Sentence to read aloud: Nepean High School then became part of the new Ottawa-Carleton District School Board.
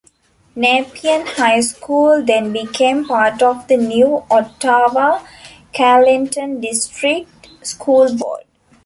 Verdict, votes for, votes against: rejected, 1, 2